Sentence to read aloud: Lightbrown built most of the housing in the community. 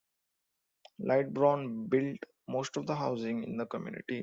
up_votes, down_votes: 1, 2